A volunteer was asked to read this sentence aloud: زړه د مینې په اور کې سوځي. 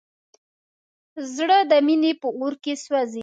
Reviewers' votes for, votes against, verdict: 2, 0, accepted